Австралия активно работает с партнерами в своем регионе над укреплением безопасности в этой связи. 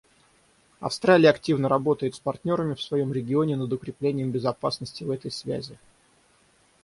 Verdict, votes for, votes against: rejected, 0, 6